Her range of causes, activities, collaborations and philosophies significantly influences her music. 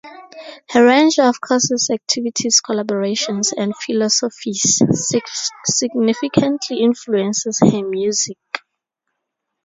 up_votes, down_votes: 0, 2